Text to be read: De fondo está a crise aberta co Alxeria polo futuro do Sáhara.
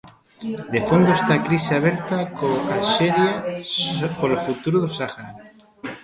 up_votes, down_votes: 0, 2